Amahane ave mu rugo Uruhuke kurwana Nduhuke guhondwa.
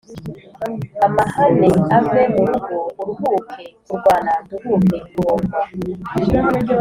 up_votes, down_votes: 2, 1